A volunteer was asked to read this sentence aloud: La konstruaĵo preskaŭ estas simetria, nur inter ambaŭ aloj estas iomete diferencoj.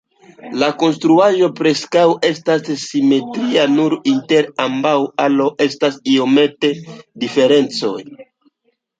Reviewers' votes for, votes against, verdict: 2, 0, accepted